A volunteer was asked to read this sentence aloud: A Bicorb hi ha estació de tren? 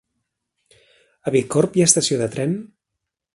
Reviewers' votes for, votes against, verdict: 4, 0, accepted